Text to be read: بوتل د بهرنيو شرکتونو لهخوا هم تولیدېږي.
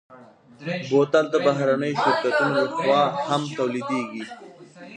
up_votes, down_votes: 2, 0